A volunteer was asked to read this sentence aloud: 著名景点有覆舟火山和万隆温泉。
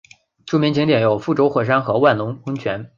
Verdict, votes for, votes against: accepted, 2, 0